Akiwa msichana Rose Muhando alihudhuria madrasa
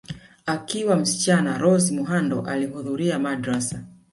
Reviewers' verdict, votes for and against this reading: rejected, 1, 2